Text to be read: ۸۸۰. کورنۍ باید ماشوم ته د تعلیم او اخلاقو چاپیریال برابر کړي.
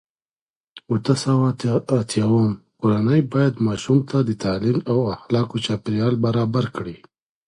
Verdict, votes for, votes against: rejected, 0, 2